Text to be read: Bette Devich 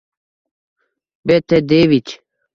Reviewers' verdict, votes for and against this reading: rejected, 0, 2